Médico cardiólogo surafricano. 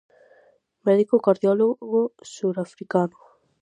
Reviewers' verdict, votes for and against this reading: rejected, 0, 4